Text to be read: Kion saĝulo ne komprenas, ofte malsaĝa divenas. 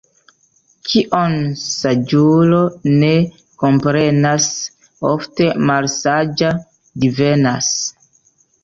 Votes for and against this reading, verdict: 1, 2, rejected